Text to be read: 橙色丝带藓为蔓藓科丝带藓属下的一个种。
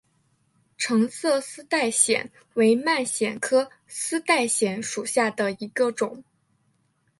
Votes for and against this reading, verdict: 3, 1, accepted